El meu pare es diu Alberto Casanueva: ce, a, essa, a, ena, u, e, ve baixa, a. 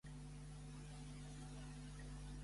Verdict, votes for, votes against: rejected, 0, 2